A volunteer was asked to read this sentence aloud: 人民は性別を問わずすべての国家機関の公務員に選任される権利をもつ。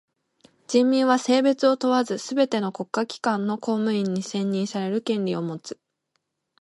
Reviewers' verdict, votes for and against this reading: accepted, 2, 0